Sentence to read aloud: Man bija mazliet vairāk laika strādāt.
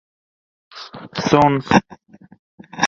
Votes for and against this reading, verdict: 0, 2, rejected